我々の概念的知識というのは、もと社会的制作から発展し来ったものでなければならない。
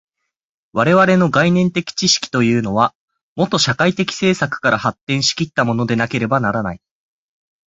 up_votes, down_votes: 6, 0